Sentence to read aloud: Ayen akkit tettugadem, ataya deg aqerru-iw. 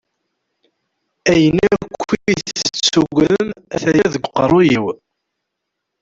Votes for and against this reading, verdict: 0, 2, rejected